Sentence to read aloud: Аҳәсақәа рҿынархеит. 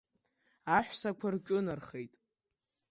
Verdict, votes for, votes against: accepted, 2, 0